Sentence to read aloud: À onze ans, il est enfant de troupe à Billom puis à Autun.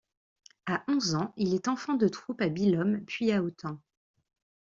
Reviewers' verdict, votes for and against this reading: accepted, 2, 0